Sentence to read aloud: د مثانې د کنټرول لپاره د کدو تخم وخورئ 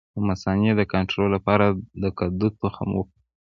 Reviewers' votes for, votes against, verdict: 2, 0, accepted